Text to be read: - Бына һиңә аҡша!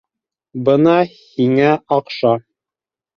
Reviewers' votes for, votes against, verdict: 1, 2, rejected